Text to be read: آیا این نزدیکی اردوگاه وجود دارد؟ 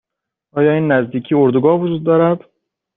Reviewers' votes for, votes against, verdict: 2, 0, accepted